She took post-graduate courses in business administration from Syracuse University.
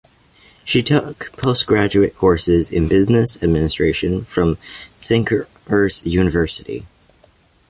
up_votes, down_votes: 0, 2